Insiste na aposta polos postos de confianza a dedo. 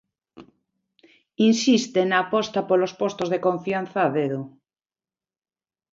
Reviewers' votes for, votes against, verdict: 2, 0, accepted